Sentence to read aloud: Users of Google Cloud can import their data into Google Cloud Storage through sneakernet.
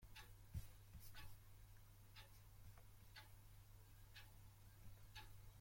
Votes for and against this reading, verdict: 0, 2, rejected